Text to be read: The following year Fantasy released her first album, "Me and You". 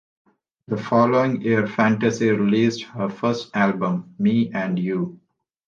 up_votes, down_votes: 2, 0